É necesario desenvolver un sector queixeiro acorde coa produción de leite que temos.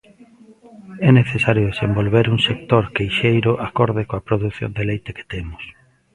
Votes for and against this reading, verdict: 2, 0, accepted